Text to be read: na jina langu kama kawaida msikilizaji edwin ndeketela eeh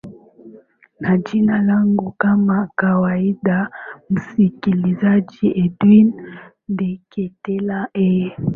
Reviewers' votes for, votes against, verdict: 2, 1, accepted